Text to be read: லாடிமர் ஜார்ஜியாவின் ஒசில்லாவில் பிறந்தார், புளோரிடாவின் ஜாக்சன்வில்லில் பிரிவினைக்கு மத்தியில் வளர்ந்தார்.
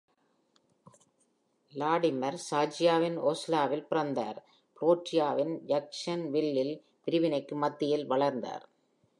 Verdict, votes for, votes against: rejected, 1, 2